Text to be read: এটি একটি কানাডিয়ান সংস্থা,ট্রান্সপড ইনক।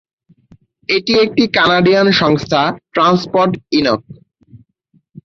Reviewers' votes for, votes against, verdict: 15, 0, accepted